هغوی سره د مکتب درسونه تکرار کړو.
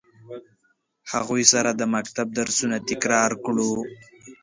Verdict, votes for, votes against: accepted, 2, 0